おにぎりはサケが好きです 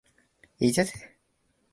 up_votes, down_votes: 0, 3